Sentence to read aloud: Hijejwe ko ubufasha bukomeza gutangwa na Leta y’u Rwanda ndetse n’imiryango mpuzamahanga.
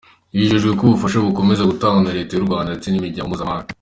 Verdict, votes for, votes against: accepted, 2, 1